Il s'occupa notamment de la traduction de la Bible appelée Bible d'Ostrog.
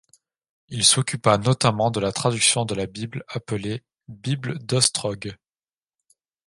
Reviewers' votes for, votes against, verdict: 2, 0, accepted